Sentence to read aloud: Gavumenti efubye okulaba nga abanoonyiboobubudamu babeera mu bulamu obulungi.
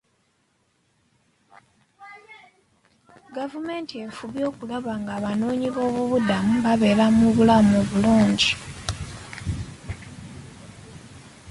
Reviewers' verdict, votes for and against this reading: accepted, 2, 1